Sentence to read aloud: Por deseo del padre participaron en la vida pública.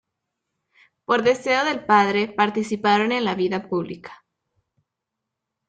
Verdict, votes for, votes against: accepted, 2, 0